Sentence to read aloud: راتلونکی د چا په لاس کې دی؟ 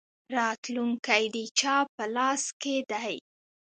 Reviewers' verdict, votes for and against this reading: rejected, 1, 2